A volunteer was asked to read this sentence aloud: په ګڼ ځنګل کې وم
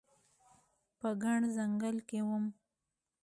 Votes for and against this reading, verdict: 2, 0, accepted